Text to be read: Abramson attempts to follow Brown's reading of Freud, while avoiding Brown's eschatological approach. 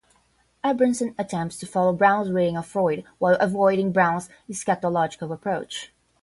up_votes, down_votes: 0, 5